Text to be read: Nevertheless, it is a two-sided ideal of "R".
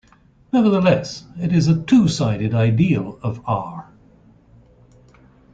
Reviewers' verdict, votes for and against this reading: accepted, 2, 0